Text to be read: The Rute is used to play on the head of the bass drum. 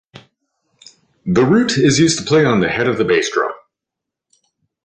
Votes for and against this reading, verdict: 2, 0, accepted